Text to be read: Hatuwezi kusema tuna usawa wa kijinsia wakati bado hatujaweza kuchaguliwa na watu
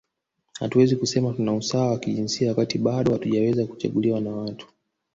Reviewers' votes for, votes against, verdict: 0, 2, rejected